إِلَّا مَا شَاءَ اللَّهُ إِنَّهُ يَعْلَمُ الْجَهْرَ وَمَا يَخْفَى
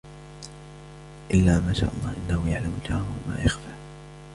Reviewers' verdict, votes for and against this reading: accepted, 2, 0